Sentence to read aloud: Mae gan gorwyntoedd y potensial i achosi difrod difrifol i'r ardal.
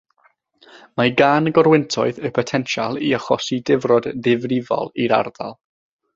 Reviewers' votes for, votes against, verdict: 3, 3, rejected